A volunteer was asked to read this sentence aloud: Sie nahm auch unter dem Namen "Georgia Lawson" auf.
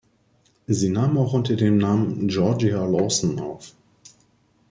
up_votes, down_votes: 2, 1